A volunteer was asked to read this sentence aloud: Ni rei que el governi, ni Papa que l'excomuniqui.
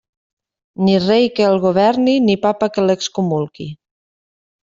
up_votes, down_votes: 0, 2